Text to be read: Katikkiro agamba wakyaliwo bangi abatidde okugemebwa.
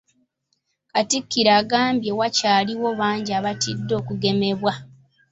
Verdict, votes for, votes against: rejected, 0, 2